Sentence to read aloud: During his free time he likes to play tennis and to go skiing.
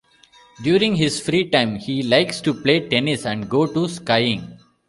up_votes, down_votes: 0, 2